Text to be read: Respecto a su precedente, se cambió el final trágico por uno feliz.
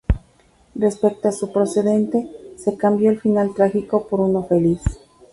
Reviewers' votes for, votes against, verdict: 0, 2, rejected